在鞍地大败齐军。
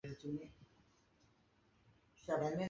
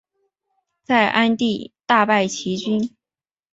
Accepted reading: second